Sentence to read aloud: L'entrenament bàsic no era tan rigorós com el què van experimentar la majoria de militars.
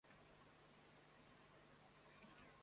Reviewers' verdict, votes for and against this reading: rejected, 0, 2